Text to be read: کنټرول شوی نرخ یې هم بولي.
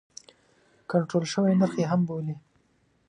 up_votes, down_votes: 3, 0